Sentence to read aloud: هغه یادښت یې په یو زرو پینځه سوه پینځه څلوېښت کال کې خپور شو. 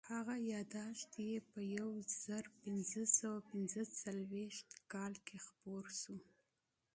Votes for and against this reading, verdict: 2, 0, accepted